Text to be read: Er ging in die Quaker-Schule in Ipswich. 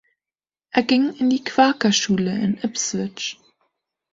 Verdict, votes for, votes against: rejected, 1, 2